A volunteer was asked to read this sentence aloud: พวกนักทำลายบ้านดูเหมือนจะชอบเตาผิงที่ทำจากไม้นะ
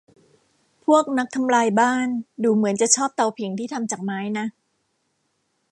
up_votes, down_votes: 2, 0